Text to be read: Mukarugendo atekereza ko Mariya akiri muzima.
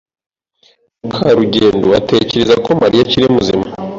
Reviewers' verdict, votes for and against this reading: accepted, 2, 0